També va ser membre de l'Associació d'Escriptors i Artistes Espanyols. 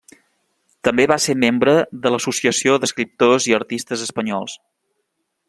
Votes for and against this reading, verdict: 3, 0, accepted